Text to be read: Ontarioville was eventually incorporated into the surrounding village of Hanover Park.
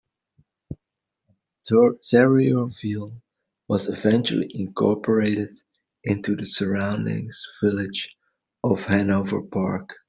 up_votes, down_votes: 0, 2